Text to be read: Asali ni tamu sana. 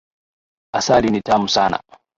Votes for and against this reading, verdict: 0, 2, rejected